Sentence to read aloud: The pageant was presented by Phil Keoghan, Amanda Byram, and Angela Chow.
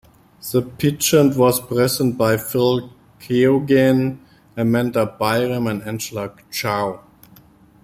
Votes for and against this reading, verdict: 2, 1, accepted